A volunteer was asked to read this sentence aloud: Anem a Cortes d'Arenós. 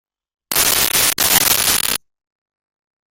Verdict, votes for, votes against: rejected, 0, 2